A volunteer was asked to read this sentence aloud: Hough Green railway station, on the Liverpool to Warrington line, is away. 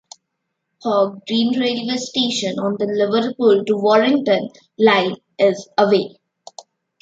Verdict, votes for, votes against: rejected, 0, 2